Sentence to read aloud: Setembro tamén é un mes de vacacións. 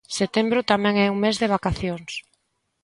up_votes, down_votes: 2, 0